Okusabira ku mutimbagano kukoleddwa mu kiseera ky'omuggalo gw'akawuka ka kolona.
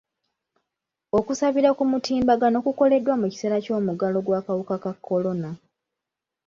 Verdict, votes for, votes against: accepted, 2, 0